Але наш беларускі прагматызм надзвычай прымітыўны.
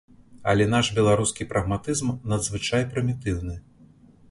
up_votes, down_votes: 1, 2